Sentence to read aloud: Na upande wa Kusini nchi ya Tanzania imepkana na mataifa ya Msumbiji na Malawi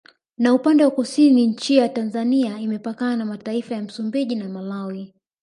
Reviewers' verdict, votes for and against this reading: rejected, 1, 2